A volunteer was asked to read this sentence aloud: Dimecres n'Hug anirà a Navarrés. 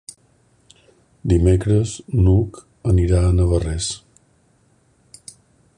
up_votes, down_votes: 3, 0